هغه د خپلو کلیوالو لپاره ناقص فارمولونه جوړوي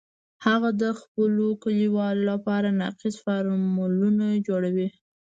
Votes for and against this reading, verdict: 2, 0, accepted